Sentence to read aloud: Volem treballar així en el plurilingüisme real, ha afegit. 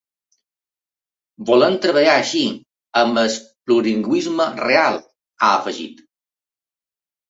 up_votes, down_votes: 1, 2